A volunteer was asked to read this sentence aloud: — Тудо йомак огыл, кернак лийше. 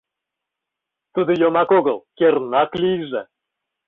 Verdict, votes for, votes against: rejected, 0, 2